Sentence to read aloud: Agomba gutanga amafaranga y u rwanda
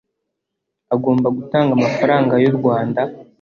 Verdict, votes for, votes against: accepted, 2, 0